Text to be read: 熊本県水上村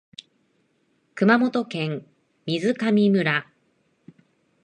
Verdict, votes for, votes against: accepted, 2, 0